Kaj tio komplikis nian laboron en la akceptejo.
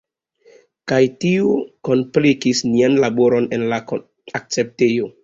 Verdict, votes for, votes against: rejected, 0, 2